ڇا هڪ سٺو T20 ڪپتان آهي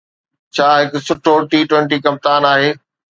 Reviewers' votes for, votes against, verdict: 0, 2, rejected